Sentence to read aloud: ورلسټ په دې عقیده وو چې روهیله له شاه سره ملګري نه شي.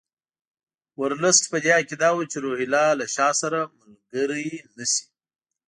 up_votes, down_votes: 2, 0